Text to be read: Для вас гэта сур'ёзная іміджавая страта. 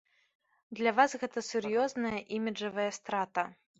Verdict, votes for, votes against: accepted, 2, 0